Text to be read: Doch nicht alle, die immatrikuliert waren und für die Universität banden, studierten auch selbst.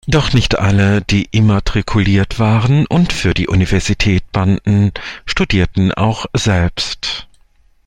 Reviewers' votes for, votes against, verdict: 2, 0, accepted